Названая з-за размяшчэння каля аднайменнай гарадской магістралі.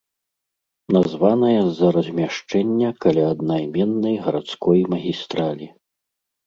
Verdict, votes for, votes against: accepted, 2, 0